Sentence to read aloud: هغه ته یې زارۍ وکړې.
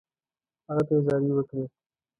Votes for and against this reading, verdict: 1, 2, rejected